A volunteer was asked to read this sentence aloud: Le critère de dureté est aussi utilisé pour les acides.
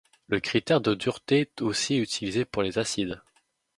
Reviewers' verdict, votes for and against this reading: rejected, 0, 2